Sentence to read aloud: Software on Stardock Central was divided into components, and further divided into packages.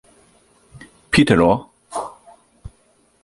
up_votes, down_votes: 0, 2